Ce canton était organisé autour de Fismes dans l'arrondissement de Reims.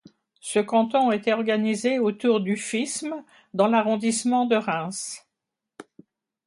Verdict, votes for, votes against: rejected, 0, 2